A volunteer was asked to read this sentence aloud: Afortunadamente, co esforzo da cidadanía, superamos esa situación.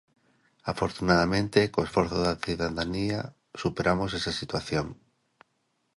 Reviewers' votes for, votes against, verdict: 1, 2, rejected